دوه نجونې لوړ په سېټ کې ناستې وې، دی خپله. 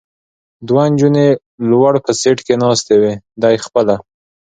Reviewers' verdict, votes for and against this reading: accepted, 2, 0